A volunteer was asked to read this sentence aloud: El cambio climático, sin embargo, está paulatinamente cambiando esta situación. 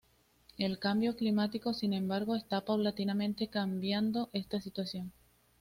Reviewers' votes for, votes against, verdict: 1, 2, rejected